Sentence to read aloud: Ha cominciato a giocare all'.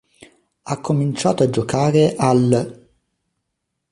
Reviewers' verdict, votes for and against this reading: accepted, 2, 0